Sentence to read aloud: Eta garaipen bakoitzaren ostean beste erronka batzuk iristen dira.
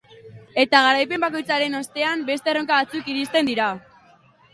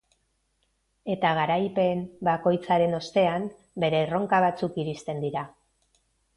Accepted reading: first